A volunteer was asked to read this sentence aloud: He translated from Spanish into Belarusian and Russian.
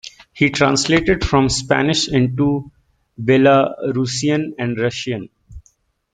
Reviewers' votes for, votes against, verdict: 2, 0, accepted